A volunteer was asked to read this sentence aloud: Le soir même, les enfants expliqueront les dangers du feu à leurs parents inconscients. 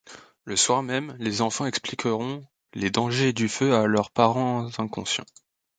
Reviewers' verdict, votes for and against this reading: rejected, 0, 2